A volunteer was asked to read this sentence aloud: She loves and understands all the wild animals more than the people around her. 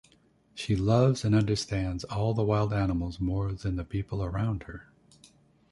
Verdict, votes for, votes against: accepted, 2, 0